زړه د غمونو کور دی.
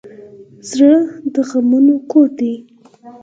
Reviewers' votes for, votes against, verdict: 4, 0, accepted